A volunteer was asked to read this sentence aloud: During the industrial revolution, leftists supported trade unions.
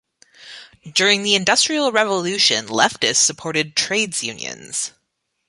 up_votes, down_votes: 1, 2